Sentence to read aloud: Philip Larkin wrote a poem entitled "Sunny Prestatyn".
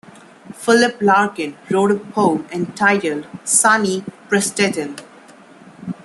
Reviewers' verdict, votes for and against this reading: rejected, 1, 2